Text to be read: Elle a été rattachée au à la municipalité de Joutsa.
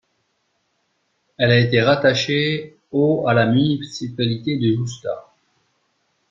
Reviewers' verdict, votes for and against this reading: rejected, 0, 2